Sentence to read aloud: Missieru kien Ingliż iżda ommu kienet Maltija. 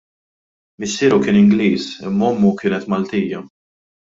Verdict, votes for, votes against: rejected, 0, 2